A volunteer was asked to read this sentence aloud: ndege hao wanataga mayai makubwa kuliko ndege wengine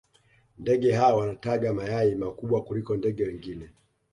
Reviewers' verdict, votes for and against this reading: accepted, 2, 0